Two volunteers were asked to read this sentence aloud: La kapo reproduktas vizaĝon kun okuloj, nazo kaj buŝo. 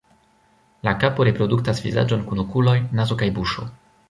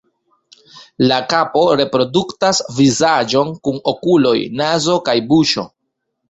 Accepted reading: first